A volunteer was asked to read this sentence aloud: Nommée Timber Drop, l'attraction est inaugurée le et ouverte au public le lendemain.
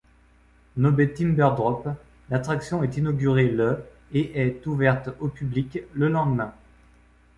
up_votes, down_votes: 0, 2